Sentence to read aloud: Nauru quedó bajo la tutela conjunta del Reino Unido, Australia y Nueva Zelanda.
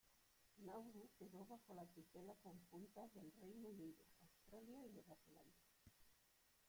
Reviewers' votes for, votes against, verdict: 1, 2, rejected